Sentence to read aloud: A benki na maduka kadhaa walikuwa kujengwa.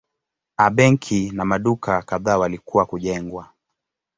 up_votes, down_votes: 2, 0